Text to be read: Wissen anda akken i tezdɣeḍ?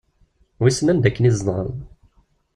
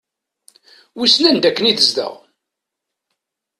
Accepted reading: first